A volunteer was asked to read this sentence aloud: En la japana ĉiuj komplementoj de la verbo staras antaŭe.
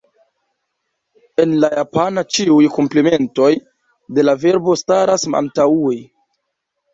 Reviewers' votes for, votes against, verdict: 1, 2, rejected